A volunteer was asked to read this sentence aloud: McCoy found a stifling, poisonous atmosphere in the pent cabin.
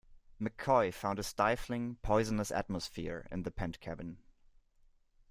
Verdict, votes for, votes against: accepted, 2, 0